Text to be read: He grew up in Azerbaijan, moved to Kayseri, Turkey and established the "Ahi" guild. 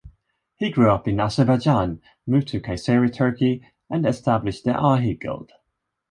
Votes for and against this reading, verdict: 2, 0, accepted